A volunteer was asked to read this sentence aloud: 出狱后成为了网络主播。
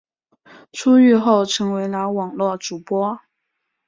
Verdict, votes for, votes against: accepted, 5, 0